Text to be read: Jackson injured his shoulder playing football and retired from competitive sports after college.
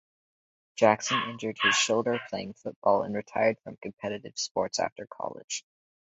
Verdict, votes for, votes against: accepted, 4, 0